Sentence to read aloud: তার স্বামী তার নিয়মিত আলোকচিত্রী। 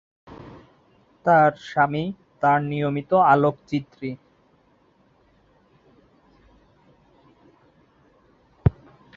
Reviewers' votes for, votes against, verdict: 5, 5, rejected